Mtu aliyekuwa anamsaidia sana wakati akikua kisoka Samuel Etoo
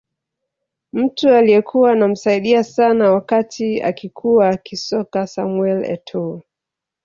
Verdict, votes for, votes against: accepted, 2, 1